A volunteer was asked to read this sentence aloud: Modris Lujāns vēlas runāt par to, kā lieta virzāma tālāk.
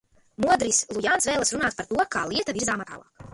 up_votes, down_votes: 1, 2